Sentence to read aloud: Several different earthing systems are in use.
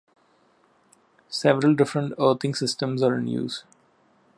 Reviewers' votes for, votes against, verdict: 0, 2, rejected